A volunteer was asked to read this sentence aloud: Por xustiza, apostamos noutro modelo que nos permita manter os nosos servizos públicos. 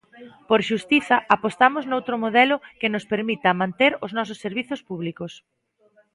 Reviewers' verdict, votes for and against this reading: accepted, 2, 0